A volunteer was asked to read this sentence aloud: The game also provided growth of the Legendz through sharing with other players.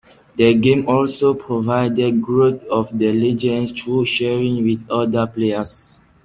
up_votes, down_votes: 2, 0